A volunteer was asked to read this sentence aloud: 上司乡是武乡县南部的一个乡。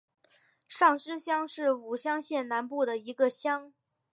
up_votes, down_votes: 3, 0